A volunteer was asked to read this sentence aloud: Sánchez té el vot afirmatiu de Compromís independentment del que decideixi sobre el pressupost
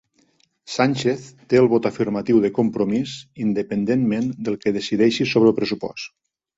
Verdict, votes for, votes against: accepted, 3, 0